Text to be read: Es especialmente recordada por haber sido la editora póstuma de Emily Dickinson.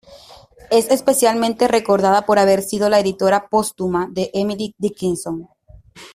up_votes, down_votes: 2, 0